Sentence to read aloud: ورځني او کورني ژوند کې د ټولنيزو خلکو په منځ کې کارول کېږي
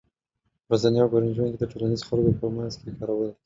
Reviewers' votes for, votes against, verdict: 1, 2, rejected